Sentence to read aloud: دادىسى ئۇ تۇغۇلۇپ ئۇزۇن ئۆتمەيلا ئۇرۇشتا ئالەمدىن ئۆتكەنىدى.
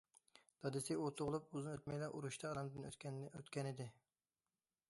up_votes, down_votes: 0, 2